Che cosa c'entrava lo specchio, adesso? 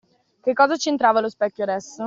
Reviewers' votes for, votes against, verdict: 2, 0, accepted